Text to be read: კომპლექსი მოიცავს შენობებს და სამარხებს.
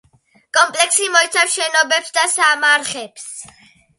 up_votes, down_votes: 2, 1